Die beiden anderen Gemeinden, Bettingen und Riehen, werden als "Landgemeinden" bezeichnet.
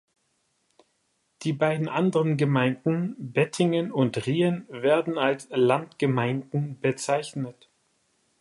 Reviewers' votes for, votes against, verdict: 2, 0, accepted